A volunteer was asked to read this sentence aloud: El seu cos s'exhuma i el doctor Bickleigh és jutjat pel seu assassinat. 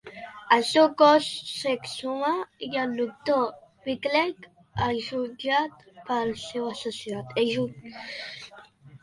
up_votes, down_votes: 1, 2